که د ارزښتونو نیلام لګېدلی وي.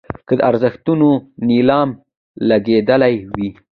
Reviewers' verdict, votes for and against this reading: accepted, 2, 0